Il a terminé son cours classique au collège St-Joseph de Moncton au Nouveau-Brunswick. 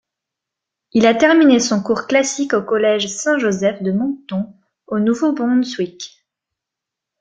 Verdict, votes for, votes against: accepted, 2, 0